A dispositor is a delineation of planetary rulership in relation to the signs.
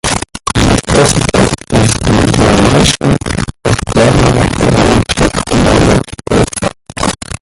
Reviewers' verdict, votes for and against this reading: rejected, 0, 2